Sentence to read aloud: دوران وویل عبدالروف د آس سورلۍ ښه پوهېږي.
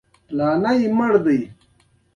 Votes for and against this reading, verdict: 1, 2, rejected